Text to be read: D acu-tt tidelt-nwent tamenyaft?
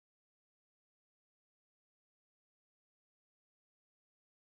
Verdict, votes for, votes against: rejected, 0, 2